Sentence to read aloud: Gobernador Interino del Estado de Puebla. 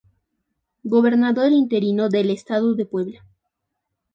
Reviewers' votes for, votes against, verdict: 2, 0, accepted